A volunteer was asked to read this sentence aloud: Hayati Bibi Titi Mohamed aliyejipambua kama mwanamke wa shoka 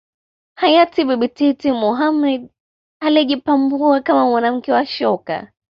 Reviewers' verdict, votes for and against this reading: accepted, 2, 1